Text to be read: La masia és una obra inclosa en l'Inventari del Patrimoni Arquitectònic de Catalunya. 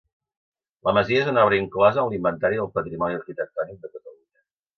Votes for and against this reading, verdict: 0, 2, rejected